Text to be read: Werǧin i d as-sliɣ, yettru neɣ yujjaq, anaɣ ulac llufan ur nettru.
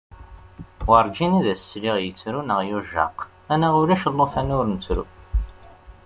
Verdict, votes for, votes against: accepted, 2, 0